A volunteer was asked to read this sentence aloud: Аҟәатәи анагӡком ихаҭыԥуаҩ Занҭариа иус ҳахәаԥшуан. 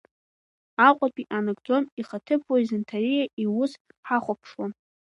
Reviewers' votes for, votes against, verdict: 2, 1, accepted